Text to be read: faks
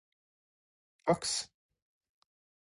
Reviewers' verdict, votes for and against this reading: accepted, 4, 0